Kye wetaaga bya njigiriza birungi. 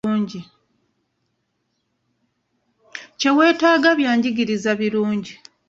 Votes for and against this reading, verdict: 1, 2, rejected